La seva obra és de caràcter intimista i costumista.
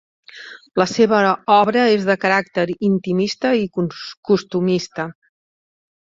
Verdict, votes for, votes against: rejected, 0, 2